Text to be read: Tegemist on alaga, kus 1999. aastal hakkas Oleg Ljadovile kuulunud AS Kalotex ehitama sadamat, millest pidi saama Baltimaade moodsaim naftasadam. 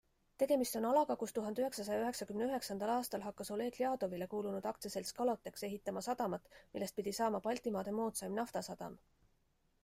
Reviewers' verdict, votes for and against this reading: rejected, 0, 2